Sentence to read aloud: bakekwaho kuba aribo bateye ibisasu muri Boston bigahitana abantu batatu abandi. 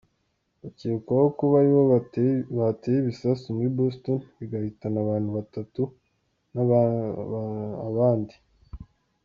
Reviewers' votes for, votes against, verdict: 1, 2, rejected